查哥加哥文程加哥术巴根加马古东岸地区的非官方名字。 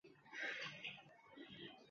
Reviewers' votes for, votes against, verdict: 0, 2, rejected